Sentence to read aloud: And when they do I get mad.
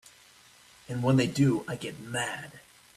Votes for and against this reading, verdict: 2, 1, accepted